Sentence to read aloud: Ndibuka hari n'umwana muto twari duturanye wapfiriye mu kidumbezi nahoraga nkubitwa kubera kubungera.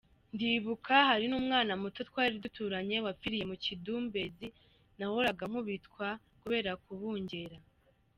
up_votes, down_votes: 2, 0